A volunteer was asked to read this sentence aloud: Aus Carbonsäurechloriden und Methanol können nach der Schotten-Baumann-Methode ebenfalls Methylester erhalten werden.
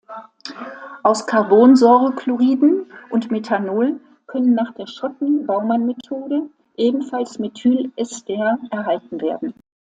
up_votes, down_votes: 2, 0